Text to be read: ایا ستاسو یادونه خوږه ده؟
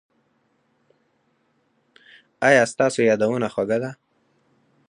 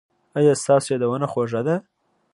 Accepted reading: second